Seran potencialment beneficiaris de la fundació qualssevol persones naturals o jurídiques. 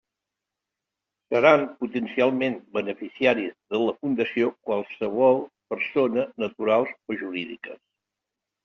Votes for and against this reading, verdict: 1, 2, rejected